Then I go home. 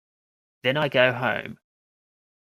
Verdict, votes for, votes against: rejected, 1, 2